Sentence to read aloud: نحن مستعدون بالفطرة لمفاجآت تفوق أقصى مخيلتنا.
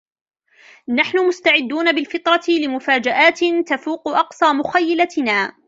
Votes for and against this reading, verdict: 2, 0, accepted